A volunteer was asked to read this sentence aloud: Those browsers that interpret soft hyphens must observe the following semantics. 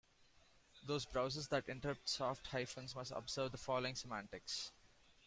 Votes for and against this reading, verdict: 2, 0, accepted